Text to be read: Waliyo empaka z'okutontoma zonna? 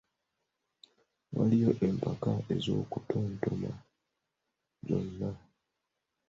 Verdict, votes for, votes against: rejected, 1, 3